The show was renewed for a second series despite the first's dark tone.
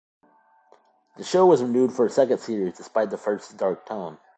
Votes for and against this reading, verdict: 2, 0, accepted